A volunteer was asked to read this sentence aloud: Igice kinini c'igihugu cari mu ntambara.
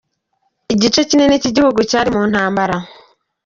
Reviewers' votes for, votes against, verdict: 2, 0, accepted